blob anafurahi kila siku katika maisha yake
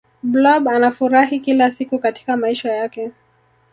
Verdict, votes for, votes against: rejected, 1, 2